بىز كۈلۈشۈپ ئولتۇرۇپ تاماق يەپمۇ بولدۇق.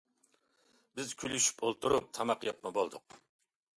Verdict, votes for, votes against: accepted, 2, 0